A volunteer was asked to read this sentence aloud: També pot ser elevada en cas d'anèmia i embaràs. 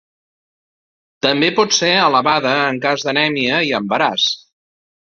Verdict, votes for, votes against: accepted, 2, 0